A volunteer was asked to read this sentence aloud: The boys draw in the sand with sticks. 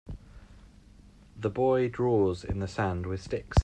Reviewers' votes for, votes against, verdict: 2, 1, accepted